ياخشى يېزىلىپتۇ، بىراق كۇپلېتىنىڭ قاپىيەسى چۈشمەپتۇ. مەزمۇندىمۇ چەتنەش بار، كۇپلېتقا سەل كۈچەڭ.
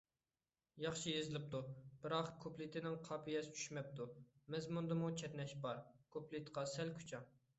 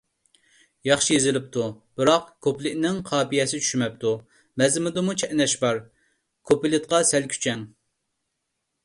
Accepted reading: first